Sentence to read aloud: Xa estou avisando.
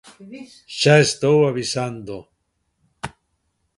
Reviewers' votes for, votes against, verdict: 2, 1, accepted